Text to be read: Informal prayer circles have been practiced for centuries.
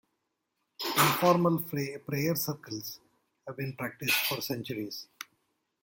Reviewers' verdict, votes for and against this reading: rejected, 1, 2